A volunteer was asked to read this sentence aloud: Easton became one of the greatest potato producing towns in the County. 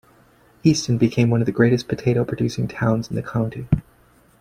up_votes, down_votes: 2, 0